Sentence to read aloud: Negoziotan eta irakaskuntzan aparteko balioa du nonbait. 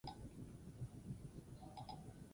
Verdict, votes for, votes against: rejected, 0, 2